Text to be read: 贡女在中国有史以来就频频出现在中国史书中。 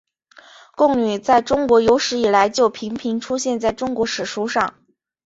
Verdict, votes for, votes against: accepted, 2, 0